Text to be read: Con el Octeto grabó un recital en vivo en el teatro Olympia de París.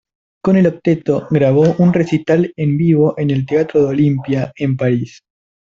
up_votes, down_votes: 0, 2